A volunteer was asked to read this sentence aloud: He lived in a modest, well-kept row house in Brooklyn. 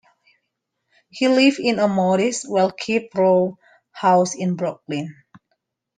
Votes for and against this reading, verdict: 0, 3, rejected